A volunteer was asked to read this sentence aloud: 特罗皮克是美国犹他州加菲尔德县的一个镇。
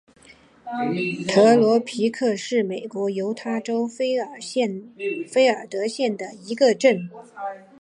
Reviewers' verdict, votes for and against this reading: rejected, 0, 4